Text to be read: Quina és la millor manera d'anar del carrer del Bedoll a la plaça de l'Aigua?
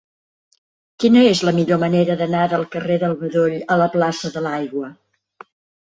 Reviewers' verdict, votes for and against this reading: accepted, 3, 0